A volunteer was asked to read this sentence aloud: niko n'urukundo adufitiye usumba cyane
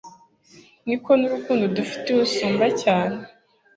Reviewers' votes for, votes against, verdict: 2, 0, accepted